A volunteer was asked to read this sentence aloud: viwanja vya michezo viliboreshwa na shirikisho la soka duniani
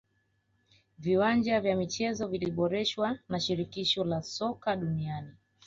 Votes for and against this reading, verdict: 2, 1, accepted